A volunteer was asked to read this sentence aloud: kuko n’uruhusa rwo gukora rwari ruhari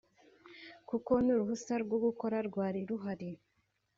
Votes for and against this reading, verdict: 3, 0, accepted